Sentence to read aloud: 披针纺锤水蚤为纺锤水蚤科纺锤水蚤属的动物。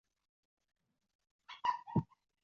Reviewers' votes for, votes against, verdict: 0, 2, rejected